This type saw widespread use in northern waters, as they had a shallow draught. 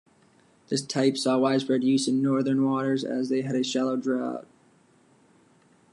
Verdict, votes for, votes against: accepted, 2, 1